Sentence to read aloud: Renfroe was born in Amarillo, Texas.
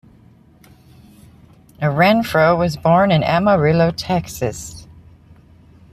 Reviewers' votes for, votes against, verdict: 2, 0, accepted